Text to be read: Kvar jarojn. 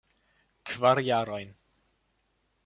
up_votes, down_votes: 2, 0